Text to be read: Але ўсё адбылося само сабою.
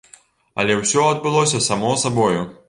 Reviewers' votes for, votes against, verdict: 2, 0, accepted